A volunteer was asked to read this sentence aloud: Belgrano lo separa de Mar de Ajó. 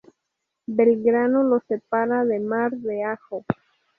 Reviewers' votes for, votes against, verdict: 2, 0, accepted